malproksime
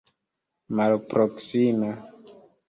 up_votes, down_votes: 2, 1